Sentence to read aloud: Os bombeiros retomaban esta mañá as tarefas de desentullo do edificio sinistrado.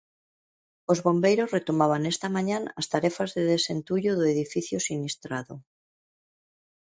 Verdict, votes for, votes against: accepted, 2, 0